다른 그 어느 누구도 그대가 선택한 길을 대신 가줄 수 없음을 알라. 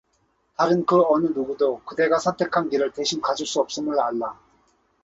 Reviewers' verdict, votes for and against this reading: accepted, 2, 0